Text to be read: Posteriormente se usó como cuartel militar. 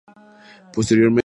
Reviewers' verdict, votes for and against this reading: rejected, 0, 4